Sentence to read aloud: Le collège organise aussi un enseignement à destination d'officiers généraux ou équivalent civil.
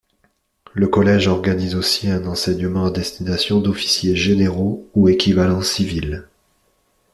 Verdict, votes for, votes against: accepted, 2, 0